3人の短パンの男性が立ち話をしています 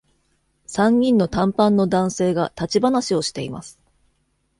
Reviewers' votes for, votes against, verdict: 0, 2, rejected